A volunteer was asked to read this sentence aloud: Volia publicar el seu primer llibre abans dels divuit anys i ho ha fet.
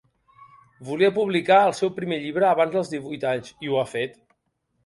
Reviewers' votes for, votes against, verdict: 3, 0, accepted